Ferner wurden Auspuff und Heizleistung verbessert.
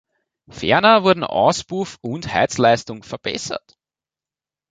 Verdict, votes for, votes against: rejected, 1, 2